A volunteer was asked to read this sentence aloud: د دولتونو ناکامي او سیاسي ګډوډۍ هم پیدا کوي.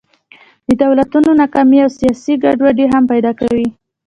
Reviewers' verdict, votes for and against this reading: accepted, 2, 0